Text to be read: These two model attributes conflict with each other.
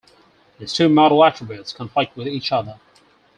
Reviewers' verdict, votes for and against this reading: accepted, 4, 0